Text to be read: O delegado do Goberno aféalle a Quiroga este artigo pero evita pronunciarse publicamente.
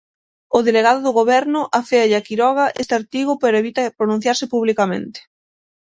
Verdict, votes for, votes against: accepted, 6, 0